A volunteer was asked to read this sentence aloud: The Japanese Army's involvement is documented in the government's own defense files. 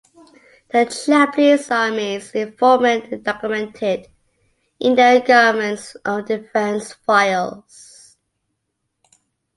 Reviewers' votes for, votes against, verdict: 1, 2, rejected